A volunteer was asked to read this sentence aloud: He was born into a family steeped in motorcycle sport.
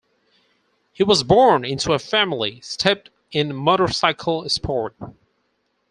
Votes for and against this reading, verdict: 2, 4, rejected